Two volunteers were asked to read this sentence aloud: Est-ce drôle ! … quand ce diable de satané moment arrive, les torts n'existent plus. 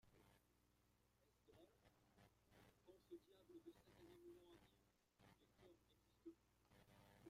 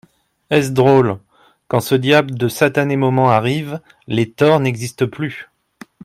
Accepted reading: second